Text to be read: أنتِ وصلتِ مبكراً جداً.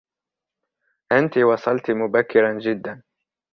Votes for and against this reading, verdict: 3, 1, accepted